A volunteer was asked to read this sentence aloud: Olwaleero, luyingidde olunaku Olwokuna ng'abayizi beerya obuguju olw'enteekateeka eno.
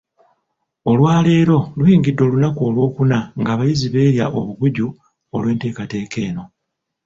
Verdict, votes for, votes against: accepted, 2, 0